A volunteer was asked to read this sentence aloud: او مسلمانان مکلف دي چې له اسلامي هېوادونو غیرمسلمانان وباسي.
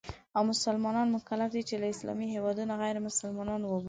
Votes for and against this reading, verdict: 2, 0, accepted